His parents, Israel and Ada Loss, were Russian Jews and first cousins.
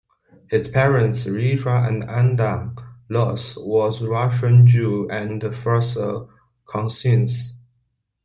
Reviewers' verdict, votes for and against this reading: rejected, 1, 2